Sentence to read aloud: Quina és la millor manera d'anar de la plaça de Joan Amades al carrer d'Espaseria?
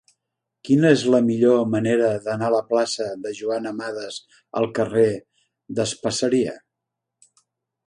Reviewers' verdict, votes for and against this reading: rejected, 0, 2